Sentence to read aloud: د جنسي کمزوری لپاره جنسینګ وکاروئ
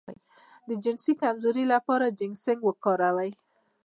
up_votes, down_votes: 1, 2